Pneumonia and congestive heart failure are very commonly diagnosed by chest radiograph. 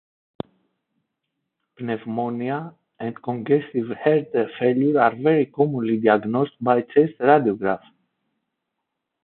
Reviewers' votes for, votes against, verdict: 1, 2, rejected